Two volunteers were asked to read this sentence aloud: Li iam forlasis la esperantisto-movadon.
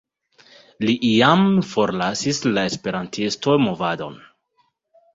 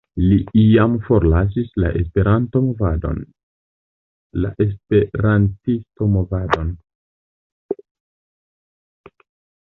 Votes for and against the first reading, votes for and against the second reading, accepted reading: 2, 0, 1, 2, first